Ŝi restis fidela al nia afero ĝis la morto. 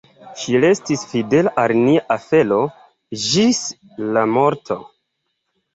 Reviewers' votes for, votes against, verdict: 2, 1, accepted